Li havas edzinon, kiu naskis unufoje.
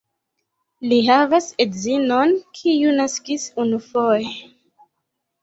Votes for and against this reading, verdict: 2, 1, accepted